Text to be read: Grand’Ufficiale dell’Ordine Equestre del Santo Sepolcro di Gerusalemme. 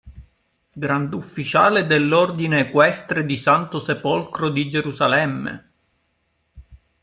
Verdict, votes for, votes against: rejected, 1, 2